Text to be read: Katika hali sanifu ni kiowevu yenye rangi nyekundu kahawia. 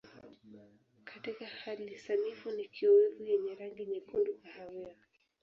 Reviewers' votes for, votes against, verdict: 0, 2, rejected